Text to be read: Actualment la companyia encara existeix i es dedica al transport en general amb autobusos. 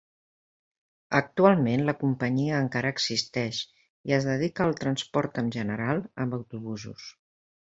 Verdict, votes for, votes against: accepted, 5, 1